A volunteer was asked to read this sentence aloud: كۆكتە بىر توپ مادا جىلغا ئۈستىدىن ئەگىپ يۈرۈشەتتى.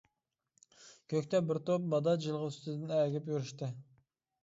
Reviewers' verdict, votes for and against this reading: rejected, 0, 2